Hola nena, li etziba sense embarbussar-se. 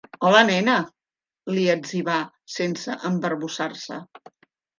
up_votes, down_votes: 0, 2